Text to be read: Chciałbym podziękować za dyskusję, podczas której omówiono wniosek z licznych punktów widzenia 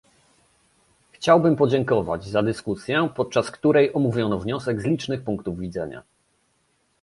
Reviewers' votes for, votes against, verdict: 2, 0, accepted